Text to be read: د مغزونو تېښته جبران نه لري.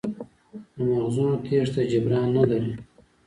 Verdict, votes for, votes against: accepted, 2, 0